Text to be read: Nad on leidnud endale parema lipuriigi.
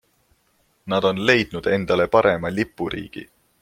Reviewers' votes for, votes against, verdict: 2, 0, accepted